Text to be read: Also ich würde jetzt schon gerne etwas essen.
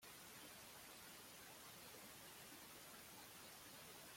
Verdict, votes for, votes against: rejected, 0, 2